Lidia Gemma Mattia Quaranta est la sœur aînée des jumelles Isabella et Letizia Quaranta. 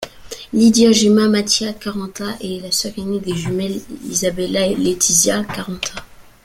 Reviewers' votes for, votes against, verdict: 1, 2, rejected